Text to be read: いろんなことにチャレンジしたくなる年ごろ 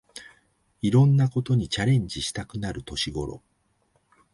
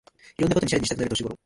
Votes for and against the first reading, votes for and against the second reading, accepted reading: 2, 0, 0, 2, first